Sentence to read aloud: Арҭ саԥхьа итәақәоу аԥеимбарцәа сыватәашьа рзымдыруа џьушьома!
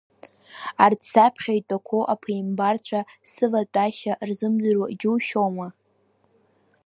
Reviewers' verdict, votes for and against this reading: rejected, 1, 2